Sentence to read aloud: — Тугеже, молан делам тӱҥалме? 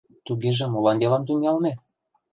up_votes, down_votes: 1, 2